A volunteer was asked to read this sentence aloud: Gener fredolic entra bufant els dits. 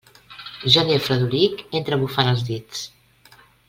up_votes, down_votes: 2, 0